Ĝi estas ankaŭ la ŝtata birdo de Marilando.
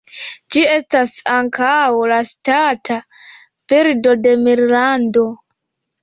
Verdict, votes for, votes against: rejected, 0, 2